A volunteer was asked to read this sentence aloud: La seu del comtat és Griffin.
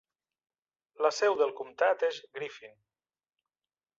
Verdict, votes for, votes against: accepted, 2, 0